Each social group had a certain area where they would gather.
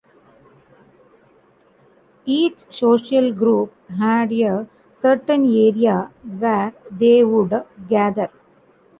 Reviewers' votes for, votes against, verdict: 0, 2, rejected